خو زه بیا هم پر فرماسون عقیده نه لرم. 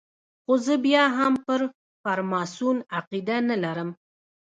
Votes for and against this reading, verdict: 1, 2, rejected